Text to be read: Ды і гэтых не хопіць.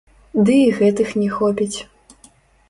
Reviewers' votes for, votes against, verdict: 0, 2, rejected